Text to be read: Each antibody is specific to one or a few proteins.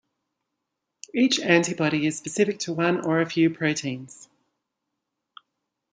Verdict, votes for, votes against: accepted, 2, 0